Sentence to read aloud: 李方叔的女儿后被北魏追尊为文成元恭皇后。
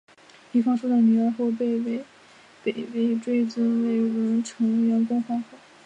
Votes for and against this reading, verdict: 0, 4, rejected